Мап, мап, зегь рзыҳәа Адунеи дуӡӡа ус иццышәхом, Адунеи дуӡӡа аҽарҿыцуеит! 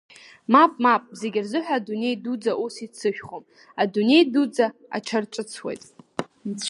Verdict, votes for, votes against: accepted, 2, 0